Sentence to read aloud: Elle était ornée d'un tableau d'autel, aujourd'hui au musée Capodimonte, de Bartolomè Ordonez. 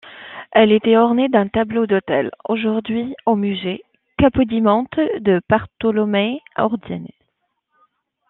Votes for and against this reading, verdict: 0, 2, rejected